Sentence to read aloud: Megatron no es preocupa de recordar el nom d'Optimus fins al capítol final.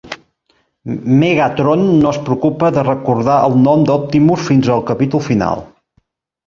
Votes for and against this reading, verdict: 3, 0, accepted